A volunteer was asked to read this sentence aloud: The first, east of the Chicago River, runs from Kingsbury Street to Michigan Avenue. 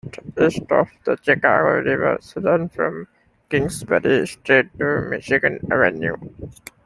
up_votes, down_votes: 1, 2